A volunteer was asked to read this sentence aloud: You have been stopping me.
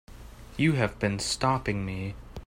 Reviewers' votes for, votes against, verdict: 3, 0, accepted